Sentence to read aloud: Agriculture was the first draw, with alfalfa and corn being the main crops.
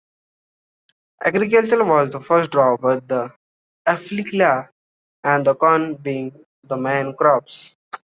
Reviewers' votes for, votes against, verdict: 0, 2, rejected